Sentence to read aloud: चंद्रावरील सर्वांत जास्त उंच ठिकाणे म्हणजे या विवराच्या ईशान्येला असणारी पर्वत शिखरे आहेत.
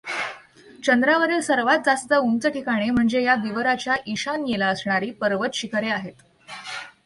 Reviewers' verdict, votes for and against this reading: accepted, 2, 0